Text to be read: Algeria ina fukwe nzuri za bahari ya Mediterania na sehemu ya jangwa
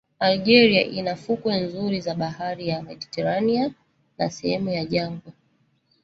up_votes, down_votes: 0, 2